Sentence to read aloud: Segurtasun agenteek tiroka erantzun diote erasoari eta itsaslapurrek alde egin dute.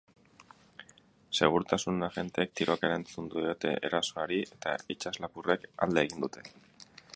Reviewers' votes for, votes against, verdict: 4, 0, accepted